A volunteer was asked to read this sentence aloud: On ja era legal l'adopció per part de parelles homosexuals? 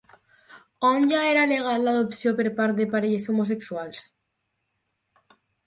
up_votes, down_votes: 6, 0